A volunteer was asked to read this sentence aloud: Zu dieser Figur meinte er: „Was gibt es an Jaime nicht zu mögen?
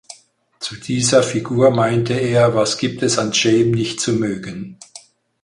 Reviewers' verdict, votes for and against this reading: accepted, 4, 0